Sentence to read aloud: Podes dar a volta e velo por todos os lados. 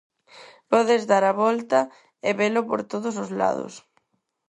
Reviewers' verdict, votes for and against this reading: accepted, 4, 0